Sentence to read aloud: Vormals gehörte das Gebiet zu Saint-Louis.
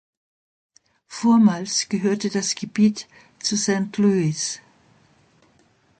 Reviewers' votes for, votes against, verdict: 2, 0, accepted